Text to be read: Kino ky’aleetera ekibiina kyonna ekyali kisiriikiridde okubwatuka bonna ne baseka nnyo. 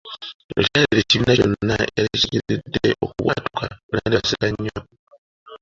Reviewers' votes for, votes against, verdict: 0, 2, rejected